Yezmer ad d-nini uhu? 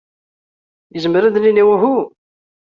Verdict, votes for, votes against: accepted, 2, 0